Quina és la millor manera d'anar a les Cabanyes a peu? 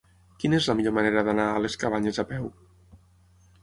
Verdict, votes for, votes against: accepted, 6, 0